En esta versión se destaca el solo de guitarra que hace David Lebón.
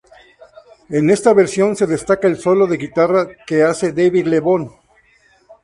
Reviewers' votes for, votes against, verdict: 6, 0, accepted